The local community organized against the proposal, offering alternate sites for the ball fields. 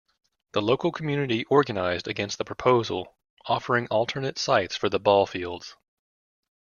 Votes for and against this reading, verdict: 3, 1, accepted